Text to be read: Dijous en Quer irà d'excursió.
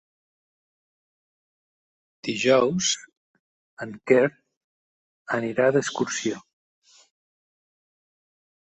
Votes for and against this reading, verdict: 0, 2, rejected